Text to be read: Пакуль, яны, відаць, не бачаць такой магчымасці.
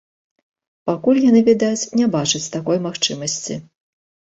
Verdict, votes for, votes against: accepted, 2, 0